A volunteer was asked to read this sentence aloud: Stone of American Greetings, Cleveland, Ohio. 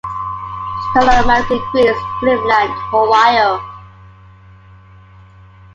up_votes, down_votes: 0, 2